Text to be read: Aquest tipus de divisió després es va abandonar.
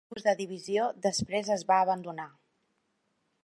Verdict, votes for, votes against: rejected, 1, 4